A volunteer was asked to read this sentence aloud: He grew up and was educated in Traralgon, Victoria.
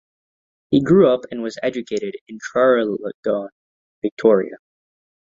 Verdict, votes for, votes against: rejected, 1, 2